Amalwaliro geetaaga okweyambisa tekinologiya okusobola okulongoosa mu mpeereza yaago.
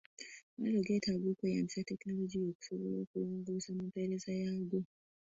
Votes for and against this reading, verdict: 0, 2, rejected